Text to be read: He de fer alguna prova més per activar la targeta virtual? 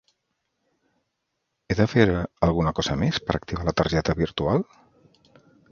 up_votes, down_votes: 0, 2